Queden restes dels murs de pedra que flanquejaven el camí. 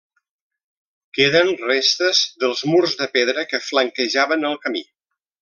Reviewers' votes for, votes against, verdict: 3, 0, accepted